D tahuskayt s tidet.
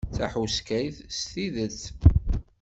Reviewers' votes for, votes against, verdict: 1, 2, rejected